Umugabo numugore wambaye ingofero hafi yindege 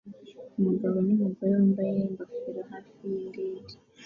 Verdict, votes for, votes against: accepted, 2, 0